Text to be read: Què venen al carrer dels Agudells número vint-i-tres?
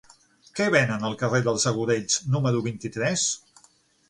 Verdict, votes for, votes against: accepted, 9, 0